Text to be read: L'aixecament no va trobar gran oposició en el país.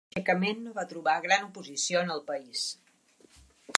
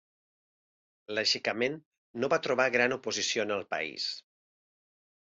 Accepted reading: second